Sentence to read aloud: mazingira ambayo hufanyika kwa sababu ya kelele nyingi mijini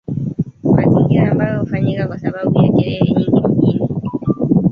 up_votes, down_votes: 2, 1